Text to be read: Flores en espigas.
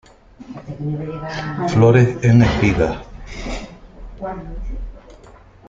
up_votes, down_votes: 1, 2